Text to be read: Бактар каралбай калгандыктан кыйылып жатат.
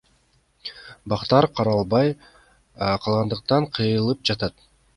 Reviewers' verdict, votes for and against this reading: rejected, 1, 2